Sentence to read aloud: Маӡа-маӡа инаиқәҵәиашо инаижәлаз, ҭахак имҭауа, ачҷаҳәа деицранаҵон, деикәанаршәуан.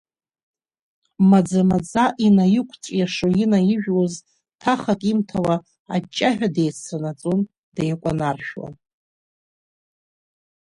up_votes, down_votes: 0, 2